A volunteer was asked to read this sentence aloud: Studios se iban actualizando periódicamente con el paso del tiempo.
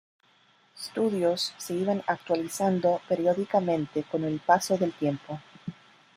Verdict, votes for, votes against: accepted, 2, 0